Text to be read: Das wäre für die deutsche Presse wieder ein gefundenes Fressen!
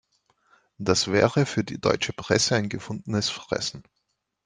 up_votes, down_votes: 0, 2